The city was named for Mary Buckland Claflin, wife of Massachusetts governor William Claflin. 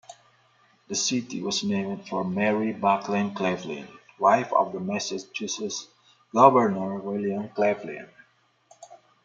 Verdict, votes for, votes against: rejected, 1, 2